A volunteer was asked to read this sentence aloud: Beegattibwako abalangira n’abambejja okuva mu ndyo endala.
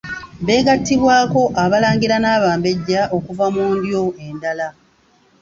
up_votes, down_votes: 2, 0